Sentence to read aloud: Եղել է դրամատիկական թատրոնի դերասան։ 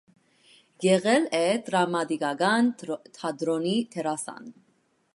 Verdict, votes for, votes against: rejected, 1, 2